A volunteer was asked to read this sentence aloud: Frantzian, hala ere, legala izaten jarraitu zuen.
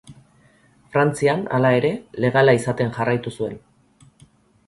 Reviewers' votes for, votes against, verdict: 2, 0, accepted